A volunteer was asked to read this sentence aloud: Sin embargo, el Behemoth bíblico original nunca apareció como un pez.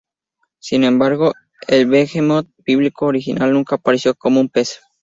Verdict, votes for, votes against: accepted, 2, 0